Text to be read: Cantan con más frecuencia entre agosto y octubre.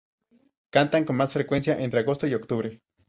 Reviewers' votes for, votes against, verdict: 0, 2, rejected